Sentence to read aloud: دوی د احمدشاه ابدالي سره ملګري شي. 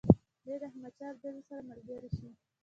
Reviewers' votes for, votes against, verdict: 1, 2, rejected